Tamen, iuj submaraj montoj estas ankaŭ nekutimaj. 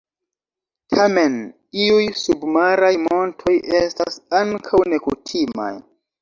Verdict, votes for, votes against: accepted, 2, 0